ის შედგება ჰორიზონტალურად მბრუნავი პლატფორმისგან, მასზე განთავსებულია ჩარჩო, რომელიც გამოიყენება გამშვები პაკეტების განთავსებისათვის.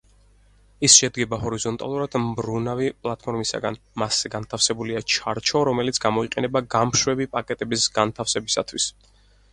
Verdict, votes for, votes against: rejected, 2, 4